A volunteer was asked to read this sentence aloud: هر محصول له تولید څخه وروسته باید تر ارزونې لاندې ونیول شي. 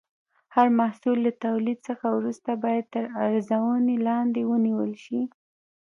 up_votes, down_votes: 2, 0